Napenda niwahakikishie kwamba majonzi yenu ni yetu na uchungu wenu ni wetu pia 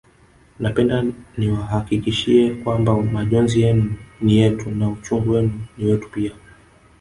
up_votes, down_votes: 2, 1